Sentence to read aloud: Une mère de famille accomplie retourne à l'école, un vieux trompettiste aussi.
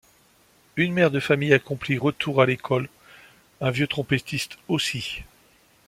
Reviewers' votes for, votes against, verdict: 1, 2, rejected